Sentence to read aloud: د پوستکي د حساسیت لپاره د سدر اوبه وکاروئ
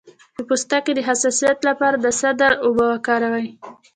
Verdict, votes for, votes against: rejected, 1, 2